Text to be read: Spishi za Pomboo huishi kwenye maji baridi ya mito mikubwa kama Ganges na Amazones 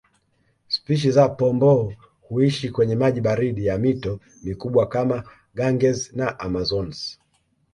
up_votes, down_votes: 2, 0